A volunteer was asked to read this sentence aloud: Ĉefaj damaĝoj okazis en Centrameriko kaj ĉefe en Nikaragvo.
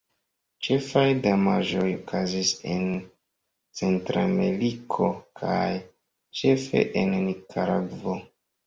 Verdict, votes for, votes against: accepted, 2, 0